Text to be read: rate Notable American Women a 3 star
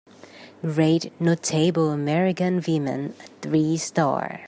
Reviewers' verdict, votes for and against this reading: rejected, 0, 2